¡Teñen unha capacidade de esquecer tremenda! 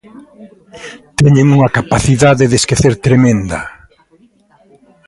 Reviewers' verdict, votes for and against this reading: accepted, 2, 0